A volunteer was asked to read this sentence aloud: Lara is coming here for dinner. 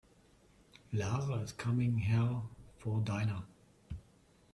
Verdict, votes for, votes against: rejected, 0, 2